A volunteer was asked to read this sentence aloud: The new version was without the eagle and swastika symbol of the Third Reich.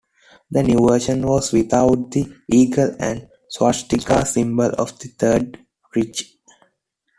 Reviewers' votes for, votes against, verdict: 2, 1, accepted